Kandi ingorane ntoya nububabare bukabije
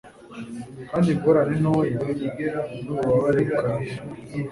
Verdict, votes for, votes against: rejected, 1, 2